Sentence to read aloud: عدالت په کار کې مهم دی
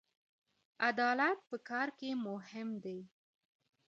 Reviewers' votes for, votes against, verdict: 1, 2, rejected